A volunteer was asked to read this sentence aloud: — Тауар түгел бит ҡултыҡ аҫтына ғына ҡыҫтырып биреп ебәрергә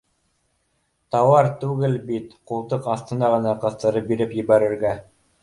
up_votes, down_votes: 2, 0